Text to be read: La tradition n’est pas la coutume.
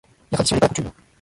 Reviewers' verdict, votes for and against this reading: rejected, 0, 2